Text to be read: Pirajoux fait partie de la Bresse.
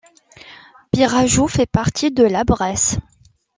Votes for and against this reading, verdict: 2, 0, accepted